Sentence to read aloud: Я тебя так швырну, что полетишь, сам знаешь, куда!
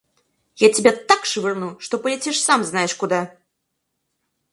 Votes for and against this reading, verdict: 4, 0, accepted